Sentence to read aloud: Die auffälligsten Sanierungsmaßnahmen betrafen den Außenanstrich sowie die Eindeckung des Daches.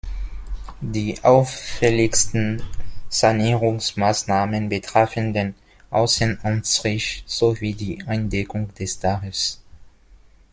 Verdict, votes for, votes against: accepted, 2, 0